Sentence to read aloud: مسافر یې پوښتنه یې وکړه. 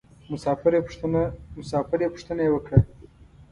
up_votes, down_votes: 1, 2